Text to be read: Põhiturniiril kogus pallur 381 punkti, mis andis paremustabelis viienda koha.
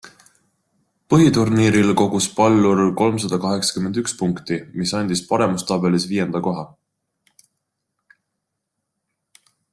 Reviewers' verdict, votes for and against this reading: rejected, 0, 2